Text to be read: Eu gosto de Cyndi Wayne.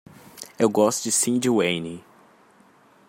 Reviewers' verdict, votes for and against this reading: accepted, 2, 0